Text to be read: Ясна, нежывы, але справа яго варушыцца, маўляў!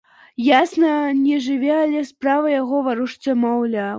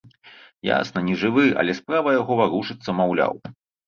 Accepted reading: second